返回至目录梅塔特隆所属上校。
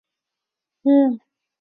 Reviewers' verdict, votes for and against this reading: rejected, 0, 3